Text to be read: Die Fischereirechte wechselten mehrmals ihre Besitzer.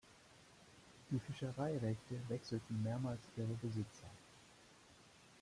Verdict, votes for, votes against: rejected, 0, 2